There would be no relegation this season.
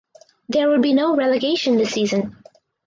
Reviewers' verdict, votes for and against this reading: accepted, 4, 2